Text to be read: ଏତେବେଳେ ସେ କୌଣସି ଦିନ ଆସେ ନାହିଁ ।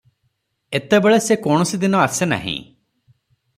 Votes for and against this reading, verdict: 3, 0, accepted